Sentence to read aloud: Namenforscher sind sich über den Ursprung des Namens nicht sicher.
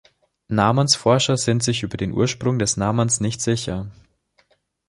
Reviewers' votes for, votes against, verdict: 1, 2, rejected